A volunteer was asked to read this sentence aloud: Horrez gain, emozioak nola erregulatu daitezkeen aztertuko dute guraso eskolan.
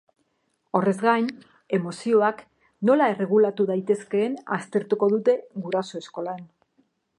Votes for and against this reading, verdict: 2, 0, accepted